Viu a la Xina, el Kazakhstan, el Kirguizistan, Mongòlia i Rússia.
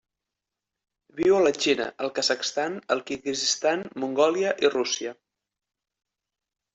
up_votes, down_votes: 1, 2